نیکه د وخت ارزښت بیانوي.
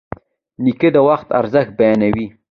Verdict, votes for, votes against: accepted, 2, 1